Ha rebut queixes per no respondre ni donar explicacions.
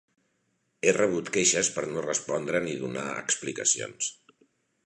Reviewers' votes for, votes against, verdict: 1, 2, rejected